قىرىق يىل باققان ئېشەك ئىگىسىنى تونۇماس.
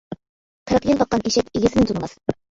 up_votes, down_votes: 0, 2